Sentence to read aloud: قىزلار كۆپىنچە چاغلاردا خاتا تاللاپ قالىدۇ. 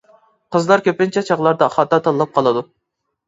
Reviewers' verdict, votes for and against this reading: accepted, 3, 0